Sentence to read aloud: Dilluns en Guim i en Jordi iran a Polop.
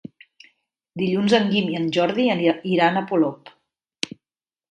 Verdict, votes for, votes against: accepted, 2, 1